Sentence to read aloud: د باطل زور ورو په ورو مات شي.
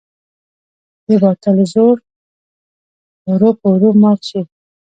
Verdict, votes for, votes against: rejected, 1, 2